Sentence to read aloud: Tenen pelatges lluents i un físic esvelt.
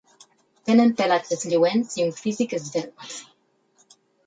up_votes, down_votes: 0, 4